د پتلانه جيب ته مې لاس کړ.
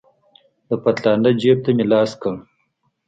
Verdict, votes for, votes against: accepted, 2, 0